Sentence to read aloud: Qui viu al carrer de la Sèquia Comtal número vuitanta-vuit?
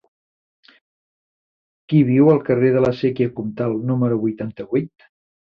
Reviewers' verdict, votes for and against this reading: accepted, 3, 1